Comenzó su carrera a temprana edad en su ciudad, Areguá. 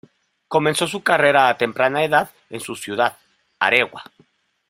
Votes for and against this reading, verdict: 1, 2, rejected